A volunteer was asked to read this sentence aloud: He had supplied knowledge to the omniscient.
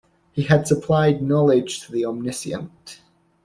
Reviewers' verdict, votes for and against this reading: accepted, 2, 0